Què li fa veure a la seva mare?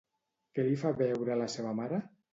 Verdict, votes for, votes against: accepted, 2, 0